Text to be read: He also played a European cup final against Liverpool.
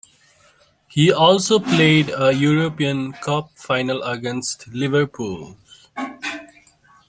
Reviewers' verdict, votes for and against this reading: accepted, 2, 0